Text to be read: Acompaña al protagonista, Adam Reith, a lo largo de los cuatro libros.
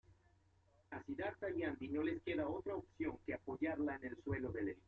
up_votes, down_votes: 1, 2